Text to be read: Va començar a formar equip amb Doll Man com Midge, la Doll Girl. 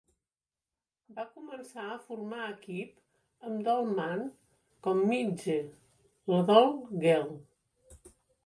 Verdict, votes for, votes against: rejected, 0, 2